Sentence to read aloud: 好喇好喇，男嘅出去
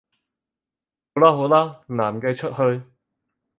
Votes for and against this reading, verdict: 2, 4, rejected